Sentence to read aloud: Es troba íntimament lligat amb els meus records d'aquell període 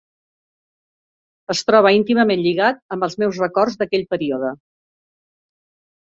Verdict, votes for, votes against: accepted, 4, 0